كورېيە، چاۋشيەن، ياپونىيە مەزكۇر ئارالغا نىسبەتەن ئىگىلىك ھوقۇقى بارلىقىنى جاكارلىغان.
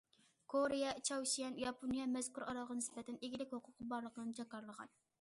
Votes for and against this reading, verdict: 2, 0, accepted